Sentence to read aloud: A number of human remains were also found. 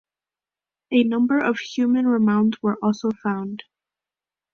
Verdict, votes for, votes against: rejected, 0, 2